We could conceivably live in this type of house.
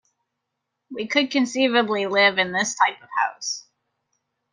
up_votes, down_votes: 2, 0